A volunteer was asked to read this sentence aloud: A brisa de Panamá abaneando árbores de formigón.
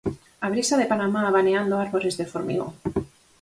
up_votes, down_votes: 4, 2